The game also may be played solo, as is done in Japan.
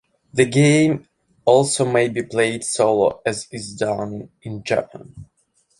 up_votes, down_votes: 3, 0